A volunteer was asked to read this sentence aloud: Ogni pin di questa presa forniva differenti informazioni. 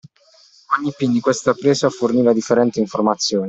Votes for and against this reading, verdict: 2, 1, accepted